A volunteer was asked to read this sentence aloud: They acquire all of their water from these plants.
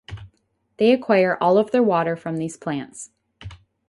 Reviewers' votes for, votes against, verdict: 0, 2, rejected